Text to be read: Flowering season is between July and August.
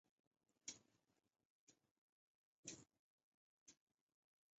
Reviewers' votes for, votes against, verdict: 0, 2, rejected